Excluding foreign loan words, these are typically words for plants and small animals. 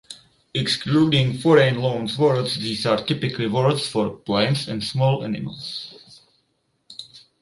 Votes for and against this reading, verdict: 2, 0, accepted